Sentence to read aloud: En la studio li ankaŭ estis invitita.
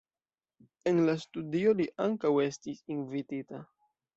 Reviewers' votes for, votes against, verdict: 2, 0, accepted